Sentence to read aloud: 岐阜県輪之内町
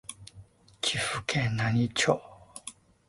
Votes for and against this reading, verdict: 2, 0, accepted